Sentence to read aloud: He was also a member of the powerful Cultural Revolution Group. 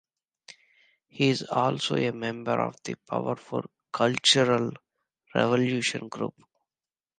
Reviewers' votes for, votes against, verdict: 1, 2, rejected